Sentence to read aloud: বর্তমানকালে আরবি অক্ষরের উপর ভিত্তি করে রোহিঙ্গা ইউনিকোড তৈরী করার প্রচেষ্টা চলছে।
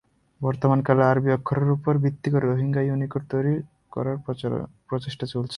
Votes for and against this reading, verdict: 1, 2, rejected